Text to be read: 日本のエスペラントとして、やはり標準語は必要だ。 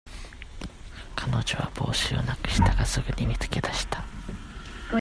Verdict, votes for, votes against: rejected, 0, 2